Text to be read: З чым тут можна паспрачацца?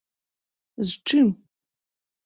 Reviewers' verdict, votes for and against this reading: rejected, 0, 2